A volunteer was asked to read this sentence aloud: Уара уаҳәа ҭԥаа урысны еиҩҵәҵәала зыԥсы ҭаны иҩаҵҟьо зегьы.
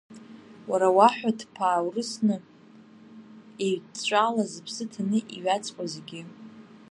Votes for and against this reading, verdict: 1, 2, rejected